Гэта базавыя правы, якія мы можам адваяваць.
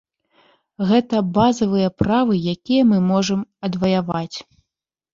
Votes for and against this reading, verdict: 0, 2, rejected